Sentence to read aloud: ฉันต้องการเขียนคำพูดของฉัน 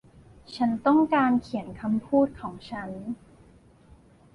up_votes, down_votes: 2, 3